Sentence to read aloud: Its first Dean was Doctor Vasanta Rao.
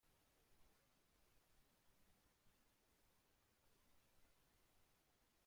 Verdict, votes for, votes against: rejected, 0, 2